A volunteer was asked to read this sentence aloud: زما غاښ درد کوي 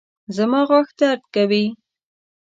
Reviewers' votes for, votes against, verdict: 2, 0, accepted